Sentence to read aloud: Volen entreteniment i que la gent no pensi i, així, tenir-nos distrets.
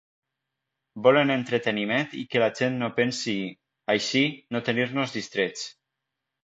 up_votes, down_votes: 1, 2